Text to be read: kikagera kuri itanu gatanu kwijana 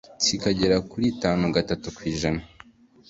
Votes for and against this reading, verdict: 2, 0, accepted